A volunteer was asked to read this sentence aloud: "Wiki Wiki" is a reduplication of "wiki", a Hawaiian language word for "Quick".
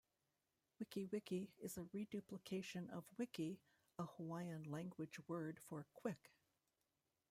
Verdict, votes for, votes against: rejected, 0, 2